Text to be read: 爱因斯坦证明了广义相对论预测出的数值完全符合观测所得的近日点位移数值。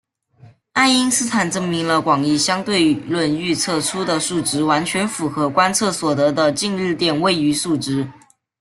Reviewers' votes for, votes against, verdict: 2, 1, accepted